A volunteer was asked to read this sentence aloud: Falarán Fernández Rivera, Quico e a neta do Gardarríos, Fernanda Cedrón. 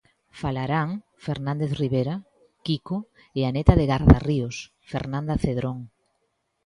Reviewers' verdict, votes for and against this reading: accepted, 2, 0